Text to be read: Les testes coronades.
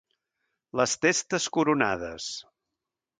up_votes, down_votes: 2, 0